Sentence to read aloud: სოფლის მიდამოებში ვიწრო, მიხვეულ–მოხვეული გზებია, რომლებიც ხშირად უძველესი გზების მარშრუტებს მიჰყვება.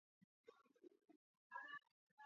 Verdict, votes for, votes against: rejected, 0, 2